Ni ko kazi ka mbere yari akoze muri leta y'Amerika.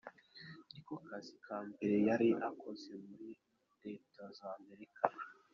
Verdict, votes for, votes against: rejected, 1, 2